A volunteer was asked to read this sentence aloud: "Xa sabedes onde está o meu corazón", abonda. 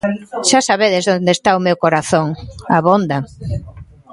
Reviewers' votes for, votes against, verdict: 2, 0, accepted